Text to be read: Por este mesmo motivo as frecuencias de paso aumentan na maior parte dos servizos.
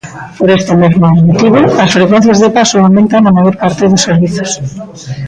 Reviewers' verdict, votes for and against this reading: rejected, 1, 2